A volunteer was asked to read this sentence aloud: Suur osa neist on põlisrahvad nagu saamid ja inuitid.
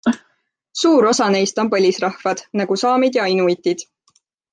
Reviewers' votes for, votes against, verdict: 2, 0, accepted